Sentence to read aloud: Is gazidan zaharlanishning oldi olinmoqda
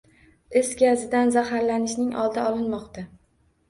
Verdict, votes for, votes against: accepted, 2, 0